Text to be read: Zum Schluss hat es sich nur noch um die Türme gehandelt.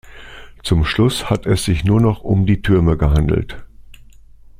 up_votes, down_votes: 2, 0